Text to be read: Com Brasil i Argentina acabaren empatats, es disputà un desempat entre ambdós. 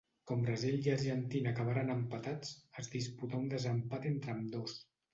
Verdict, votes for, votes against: accepted, 2, 0